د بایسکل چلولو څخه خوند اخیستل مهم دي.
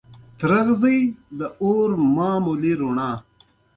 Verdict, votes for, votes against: accepted, 2, 0